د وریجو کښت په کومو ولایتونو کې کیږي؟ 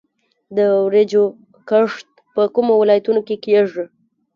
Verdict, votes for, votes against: accepted, 2, 0